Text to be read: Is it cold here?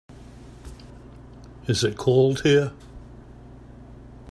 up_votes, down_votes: 2, 0